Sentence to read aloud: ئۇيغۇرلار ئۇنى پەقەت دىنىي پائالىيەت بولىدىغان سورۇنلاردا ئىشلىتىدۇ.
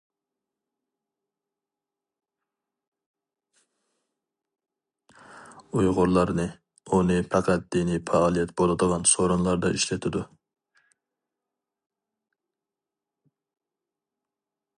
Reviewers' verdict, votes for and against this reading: rejected, 0, 4